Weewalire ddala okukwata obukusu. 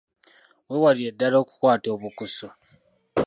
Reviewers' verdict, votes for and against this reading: rejected, 0, 2